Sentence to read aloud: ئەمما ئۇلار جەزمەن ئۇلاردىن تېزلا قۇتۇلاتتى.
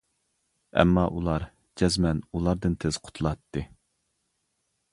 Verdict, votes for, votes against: rejected, 1, 2